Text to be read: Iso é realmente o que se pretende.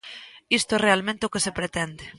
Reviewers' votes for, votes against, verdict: 1, 2, rejected